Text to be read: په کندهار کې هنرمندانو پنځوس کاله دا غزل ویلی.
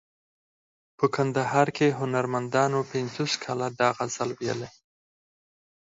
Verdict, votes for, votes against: rejected, 0, 4